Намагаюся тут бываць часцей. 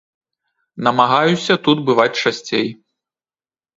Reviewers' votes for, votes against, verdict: 2, 0, accepted